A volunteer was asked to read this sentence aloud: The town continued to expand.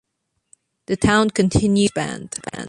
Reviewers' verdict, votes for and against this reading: rejected, 0, 2